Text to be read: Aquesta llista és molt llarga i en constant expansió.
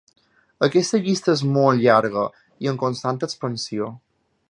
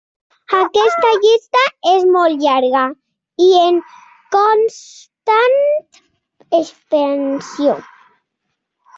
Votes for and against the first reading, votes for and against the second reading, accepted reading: 3, 0, 0, 2, first